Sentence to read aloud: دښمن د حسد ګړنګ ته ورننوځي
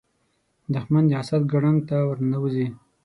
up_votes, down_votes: 6, 0